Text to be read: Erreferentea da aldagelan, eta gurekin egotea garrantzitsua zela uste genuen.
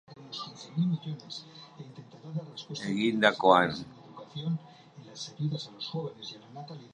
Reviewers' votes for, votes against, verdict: 0, 2, rejected